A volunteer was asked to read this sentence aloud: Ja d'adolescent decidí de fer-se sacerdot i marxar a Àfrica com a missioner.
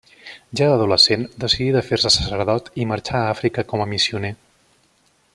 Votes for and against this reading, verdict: 2, 0, accepted